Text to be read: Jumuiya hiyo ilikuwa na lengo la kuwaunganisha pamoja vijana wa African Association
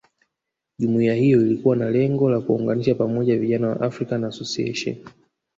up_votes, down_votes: 3, 2